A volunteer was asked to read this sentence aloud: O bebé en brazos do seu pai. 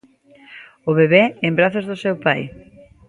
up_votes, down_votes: 1, 2